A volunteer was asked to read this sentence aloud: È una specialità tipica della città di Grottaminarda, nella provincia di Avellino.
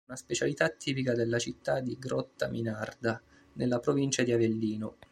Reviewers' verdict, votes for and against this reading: accepted, 2, 1